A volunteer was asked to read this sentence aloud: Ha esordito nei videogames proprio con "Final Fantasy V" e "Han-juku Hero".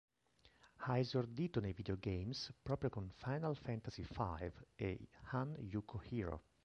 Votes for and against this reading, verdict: 2, 1, accepted